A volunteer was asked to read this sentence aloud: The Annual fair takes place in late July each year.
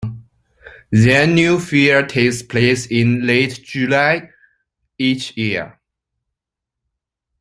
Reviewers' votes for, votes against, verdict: 2, 0, accepted